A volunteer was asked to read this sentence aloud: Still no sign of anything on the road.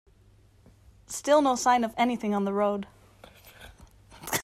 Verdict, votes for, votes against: accepted, 2, 0